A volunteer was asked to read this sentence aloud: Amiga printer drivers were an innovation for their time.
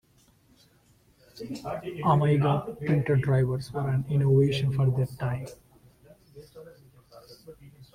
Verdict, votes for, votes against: rejected, 0, 3